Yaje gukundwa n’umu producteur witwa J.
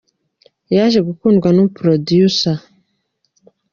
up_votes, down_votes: 0, 2